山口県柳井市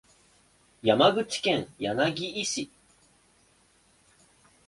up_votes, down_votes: 1, 2